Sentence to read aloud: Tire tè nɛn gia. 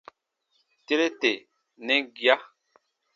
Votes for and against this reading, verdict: 3, 0, accepted